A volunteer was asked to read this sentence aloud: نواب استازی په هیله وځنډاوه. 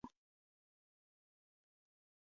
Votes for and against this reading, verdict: 0, 2, rejected